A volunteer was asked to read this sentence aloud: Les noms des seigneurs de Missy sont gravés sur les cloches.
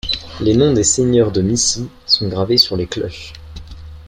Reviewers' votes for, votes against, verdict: 2, 0, accepted